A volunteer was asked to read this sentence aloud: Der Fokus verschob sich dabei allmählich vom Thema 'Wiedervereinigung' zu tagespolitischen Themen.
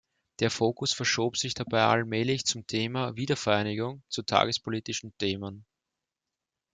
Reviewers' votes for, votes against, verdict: 0, 2, rejected